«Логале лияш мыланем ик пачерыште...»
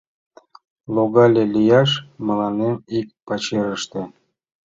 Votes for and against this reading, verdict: 2, 0, accepted